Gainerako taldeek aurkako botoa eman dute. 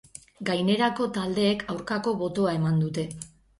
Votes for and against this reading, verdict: 12, 0, accepted